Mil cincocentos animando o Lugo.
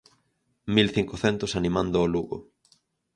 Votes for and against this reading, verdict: 4, 0, accepted